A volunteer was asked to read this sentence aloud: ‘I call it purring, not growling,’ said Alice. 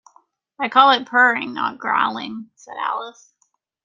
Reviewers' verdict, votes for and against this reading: rejected, 1, 2